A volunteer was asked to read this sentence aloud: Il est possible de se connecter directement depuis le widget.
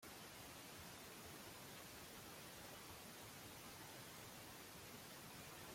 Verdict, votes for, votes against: rejected, 0, 2